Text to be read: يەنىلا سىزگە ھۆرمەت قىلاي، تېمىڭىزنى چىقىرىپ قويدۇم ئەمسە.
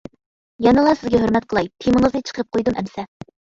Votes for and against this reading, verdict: 2, 0, accepted